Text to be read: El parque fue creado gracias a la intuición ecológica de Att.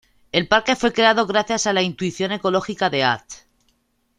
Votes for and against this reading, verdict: 2, 0, accepted